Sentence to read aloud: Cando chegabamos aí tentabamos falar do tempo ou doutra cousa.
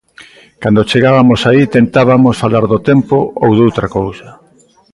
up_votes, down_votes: 1, 2